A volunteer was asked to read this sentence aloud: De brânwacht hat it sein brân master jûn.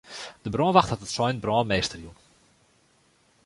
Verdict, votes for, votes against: rejected, 0, 2